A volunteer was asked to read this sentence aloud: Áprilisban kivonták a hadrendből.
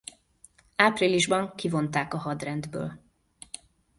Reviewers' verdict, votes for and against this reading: accepted, 2, 0